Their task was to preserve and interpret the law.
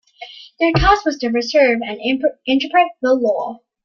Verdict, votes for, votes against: rejected, 0, 2